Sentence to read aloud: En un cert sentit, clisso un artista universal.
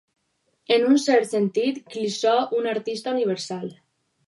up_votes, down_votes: 2, 2